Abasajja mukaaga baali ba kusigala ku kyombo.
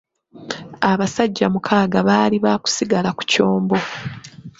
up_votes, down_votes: 2, 0